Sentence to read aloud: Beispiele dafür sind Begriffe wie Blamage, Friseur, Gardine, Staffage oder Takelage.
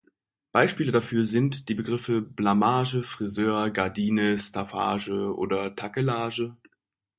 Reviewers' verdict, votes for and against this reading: rejected, 1, 2